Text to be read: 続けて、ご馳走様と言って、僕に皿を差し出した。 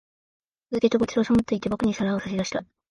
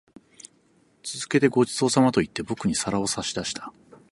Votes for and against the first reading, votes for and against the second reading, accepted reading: 1, 2, 4, 0, second